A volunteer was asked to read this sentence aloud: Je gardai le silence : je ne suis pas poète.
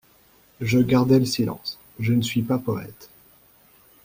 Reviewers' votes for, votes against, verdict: 2, 0, accepted